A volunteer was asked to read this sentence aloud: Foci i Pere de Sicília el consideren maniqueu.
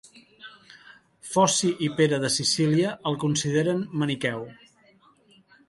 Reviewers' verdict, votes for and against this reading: accepted, 2, 0